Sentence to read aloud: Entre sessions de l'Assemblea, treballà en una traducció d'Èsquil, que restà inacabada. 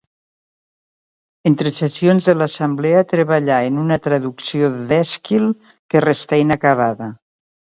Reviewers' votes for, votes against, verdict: 2, 0, accepted